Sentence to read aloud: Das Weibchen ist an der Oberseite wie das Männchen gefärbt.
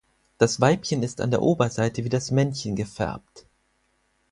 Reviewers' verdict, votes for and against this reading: accepted, 4, 0